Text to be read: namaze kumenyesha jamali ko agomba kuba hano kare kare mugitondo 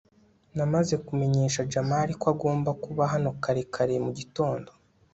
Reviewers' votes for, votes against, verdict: 2, 0, accepted